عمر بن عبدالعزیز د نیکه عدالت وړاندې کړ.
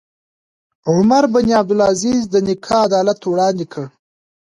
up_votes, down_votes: 2, 0